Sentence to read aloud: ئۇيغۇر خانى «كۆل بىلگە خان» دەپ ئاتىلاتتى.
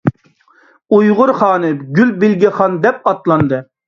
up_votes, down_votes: 0, 2